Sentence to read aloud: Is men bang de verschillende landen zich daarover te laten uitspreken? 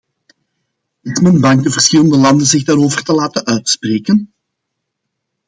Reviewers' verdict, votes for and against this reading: rejected, 1, 2